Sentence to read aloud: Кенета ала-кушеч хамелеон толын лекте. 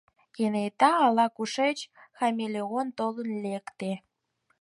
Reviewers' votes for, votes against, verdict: 4, 0, accepted